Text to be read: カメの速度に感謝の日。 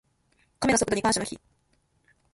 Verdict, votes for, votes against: accepted, 2, 1